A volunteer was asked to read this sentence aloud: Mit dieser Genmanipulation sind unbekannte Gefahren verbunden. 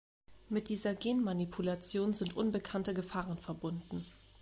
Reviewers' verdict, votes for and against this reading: accepted, 2, 1